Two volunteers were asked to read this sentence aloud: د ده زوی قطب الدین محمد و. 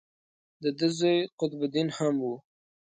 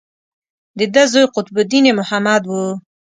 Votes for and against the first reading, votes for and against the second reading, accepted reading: 1, 2, 2, 0, second